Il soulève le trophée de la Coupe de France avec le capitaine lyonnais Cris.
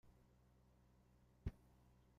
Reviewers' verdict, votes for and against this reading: rejected, 0, 2